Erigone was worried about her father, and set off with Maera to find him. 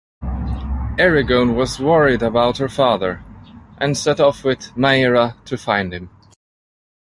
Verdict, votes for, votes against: accepted, 2, 0